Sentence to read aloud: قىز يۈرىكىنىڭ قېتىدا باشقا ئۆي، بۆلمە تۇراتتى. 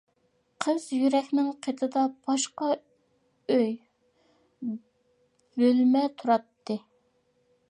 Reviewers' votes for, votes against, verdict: 0, 2, rejected